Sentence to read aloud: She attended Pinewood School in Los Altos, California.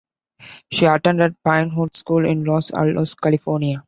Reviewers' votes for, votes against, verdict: 2, 0, accepted